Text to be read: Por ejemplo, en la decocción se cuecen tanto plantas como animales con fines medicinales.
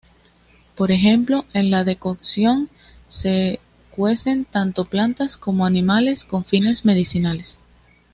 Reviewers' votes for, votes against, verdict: 2, 0, accepted